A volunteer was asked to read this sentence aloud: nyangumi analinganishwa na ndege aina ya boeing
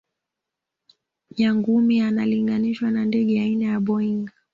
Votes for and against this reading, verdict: 2, 0, accepted